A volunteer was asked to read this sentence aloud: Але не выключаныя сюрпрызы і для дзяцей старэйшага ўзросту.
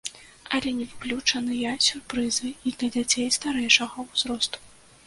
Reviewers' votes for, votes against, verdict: 1, 2, rejected